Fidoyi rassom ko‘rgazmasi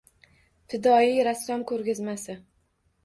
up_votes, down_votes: 2, 0